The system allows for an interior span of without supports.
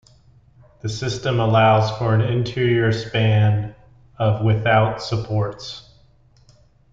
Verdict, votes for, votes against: accepted, 2, 1